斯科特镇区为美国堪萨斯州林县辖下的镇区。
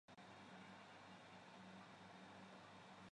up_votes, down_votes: 0, 2